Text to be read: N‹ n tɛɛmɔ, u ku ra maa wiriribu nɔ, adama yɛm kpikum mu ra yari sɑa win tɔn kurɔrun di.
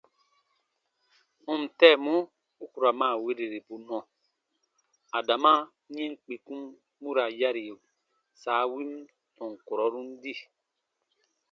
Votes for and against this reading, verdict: 0, 2, rejected